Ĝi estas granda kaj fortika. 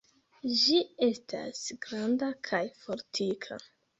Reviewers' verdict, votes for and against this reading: rejected, 1, 2